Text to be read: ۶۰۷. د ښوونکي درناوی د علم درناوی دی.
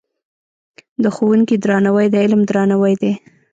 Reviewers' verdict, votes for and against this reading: rejected, 0, 2